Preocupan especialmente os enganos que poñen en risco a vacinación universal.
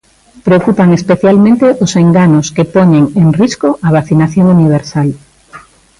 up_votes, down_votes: 2, 1